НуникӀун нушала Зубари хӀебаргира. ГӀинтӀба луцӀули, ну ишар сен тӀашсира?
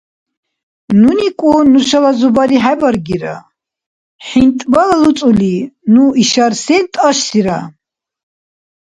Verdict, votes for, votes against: rejected, 1, 2